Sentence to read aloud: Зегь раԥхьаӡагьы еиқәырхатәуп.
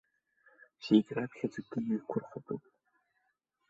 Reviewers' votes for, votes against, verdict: 0, 2, rejected